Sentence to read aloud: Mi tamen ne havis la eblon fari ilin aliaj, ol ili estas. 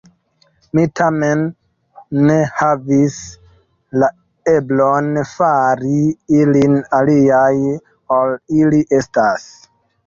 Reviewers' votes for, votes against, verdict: 2, 1, accepted